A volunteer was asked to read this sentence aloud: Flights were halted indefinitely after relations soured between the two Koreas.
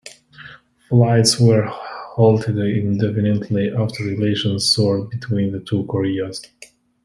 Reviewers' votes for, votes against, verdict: 2, 0, accepted